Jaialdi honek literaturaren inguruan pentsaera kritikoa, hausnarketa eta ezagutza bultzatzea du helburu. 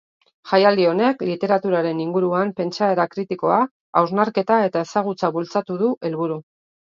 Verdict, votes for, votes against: rejected, 1, 2